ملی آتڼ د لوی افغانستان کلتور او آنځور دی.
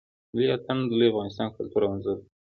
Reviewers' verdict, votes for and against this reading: accepted, 2, 0